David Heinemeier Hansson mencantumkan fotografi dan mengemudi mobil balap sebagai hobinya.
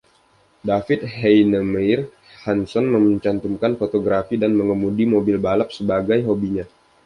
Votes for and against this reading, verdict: 1, 2, rejected